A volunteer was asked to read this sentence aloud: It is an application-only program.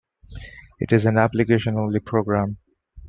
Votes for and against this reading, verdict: 2, 0, accepted